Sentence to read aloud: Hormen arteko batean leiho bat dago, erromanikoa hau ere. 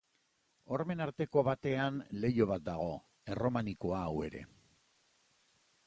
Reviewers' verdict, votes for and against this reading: accepted, 4, 0